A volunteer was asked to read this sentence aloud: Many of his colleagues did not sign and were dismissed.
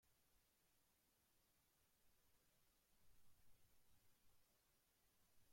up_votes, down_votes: 0, 2